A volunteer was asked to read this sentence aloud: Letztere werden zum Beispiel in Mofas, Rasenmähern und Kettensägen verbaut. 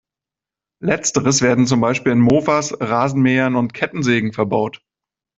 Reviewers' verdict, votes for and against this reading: rejected, 0, 2